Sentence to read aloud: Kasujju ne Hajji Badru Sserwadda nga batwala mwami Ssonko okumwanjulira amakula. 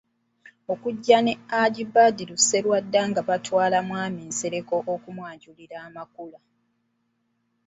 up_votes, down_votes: 0, 2